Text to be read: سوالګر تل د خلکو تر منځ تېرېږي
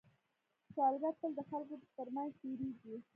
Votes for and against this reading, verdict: 1, 2, rejected